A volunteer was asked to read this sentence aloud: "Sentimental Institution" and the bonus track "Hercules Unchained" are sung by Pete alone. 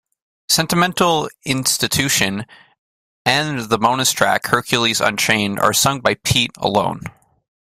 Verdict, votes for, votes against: accepted, 2, 0